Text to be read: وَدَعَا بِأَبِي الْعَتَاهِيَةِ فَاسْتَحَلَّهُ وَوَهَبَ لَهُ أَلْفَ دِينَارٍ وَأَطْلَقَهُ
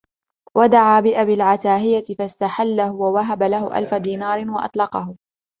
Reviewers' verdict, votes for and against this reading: accepted, 2, 0